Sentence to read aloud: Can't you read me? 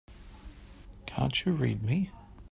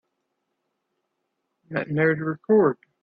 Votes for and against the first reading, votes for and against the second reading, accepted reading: 3, 0, 0, 2, first